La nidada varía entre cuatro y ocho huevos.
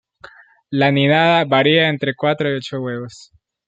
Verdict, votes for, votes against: accepted, 2, 0